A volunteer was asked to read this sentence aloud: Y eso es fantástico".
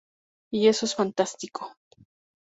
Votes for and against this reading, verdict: 2, 0, accepted